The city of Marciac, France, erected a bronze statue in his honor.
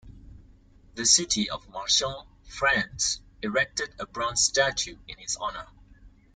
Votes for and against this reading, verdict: 2, 0, accepted